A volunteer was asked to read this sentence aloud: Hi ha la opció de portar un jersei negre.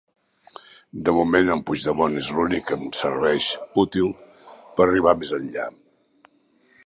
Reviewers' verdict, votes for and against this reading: rejected, 0, 2